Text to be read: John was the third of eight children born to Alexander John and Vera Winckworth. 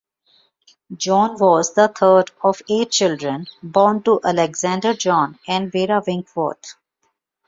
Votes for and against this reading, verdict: 1, 2, rejected